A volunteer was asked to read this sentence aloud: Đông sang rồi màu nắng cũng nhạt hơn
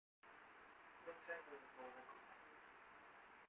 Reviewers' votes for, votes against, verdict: 0, 2, rejected